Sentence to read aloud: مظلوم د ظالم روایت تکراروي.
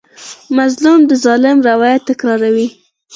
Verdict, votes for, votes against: accepted, 4, 0